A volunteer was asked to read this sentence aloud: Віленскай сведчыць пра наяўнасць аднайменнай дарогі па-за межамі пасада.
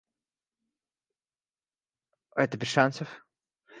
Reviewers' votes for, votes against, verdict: 2, 4, rejected